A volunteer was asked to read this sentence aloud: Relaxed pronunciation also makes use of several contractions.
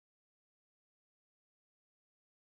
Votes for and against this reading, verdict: 0, 2, rejected